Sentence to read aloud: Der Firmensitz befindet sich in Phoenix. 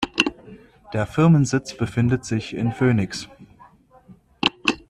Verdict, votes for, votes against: accepted, 2, 0